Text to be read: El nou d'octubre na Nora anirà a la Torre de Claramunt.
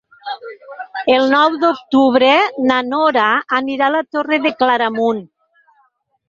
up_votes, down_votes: 4, 2